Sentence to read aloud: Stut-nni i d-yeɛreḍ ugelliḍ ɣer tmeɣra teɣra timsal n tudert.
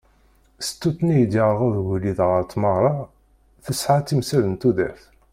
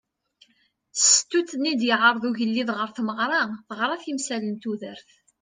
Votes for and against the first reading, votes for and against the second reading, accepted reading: 1, 2, 2, 0, second